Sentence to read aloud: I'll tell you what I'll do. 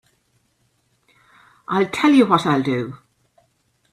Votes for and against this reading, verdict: 0, 2, rejected